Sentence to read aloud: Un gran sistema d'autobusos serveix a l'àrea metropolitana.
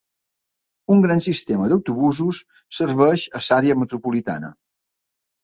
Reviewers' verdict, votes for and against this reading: rejected, 0, 2